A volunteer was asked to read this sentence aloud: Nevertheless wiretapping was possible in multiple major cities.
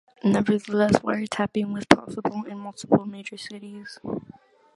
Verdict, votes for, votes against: accepted, 2, 0